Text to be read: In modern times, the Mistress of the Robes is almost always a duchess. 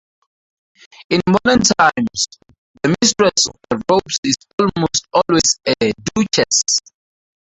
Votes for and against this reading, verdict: 0, 2, rejected